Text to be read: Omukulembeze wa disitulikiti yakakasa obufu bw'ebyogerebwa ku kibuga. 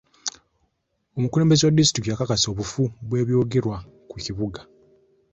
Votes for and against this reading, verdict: 1, 2, rejected